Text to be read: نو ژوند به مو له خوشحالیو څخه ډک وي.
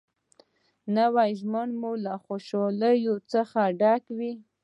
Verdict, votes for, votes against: rejected, 0, 2